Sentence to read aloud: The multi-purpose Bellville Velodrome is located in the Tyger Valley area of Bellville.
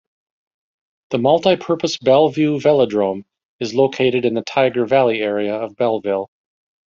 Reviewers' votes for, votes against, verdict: 2, 0, accepted